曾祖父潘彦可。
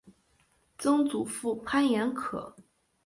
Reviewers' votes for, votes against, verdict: 2, 0, accepted